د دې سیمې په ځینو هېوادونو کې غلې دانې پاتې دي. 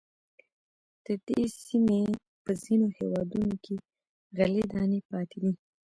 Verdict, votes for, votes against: accepted, 2, 0